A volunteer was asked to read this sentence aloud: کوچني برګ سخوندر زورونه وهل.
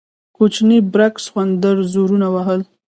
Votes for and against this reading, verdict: 1, 2, rejected